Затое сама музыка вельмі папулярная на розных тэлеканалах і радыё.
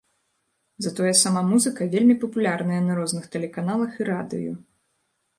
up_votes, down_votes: 1, 2